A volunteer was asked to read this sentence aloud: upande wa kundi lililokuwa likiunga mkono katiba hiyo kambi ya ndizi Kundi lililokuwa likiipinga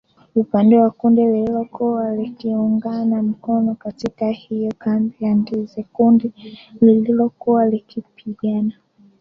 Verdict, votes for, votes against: rejected, 0, 2